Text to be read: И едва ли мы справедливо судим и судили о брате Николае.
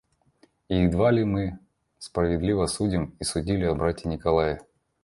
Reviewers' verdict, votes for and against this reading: accepted, 2, 0